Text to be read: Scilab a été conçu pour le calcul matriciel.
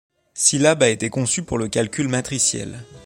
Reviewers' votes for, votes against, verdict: 2, 1, accepted